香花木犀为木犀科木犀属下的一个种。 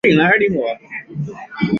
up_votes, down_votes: 0, 2